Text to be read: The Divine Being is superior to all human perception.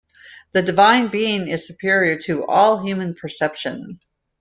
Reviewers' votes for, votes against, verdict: 2, 0, accepted